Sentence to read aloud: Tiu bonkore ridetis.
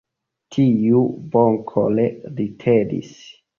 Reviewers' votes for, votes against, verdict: 2, 0, accepted